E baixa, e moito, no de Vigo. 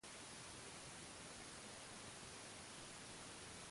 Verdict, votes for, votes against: rejected, 0, 2